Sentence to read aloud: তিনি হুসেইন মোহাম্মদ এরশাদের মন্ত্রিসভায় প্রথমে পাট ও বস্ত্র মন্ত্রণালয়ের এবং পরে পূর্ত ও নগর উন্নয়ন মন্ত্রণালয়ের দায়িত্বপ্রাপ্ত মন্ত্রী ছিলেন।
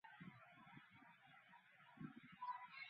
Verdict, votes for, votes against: rejected, 0, 2